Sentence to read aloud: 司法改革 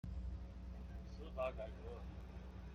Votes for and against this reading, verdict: 2, 1, accepted